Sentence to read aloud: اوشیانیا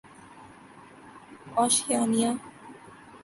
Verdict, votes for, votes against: accepted, 14, 2